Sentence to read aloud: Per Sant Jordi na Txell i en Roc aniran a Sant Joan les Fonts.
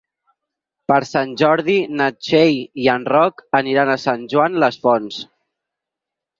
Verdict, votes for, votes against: accepted, 6, 0